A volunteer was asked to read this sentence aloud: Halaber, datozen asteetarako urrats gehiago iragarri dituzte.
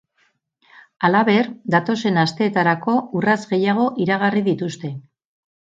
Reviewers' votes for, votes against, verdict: 2, 2, rejected